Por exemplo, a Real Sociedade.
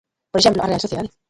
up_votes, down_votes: 0, 3